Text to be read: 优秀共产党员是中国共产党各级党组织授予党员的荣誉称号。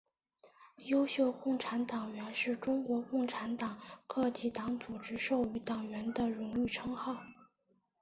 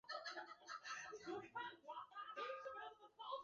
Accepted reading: first